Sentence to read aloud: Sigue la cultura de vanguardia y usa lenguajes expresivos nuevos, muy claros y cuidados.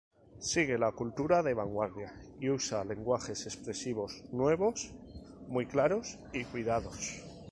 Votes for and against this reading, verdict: 2, 0, accepted